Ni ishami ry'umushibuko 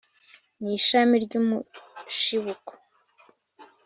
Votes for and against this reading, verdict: 2, 0, accepted